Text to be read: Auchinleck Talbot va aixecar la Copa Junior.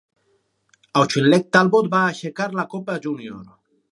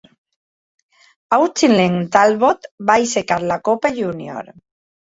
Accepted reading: second